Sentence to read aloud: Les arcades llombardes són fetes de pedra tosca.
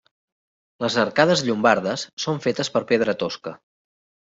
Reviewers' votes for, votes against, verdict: 0, 2, rejected